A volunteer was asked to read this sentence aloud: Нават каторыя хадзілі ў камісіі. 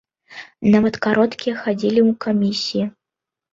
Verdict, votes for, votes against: rejected, 0, 2